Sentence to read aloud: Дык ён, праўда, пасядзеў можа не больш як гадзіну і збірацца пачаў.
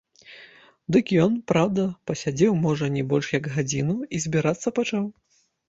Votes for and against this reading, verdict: 2, 0, accepted